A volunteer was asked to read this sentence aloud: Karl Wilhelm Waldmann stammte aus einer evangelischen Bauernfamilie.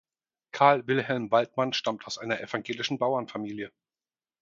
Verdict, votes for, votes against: rejected, 2, 4